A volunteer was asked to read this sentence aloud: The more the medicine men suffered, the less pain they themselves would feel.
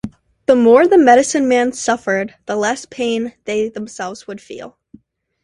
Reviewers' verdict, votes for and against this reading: accepted, 2, 0